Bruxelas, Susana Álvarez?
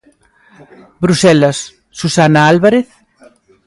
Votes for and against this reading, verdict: 2, 0, accepted